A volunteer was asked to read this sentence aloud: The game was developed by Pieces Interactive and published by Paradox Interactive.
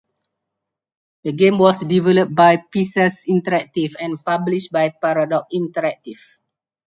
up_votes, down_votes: 4, 2